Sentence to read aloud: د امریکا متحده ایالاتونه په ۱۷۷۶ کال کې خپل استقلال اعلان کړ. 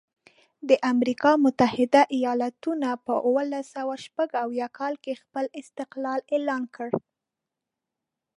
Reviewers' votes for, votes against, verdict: 0, 2, rejected